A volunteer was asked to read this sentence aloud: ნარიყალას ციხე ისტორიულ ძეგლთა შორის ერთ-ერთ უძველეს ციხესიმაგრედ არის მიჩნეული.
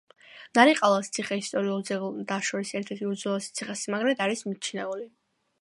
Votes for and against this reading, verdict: 2, 0, accepted